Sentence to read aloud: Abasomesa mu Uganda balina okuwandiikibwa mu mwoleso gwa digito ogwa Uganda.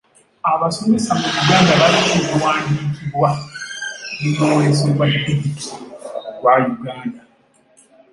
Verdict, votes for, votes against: rejected, 0, 2